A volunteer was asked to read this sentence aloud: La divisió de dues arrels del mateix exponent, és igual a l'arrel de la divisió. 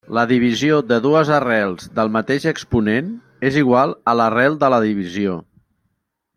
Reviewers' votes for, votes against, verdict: 3, 0, accepted